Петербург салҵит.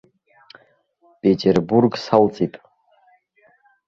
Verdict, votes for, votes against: accepted, 2, 0